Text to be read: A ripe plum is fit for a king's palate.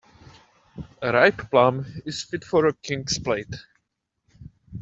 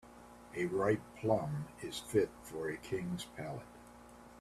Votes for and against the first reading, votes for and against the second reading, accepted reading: 0, 2, 2, 1, second